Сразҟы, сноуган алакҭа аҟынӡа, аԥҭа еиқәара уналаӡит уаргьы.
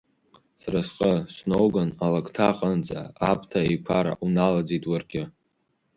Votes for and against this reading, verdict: 4, 0, accepted